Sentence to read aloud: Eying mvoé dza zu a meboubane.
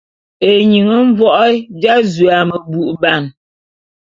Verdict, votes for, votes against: accepted, 2, 0